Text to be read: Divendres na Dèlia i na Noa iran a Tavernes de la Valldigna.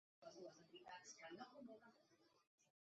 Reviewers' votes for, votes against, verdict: 0, 2, rejected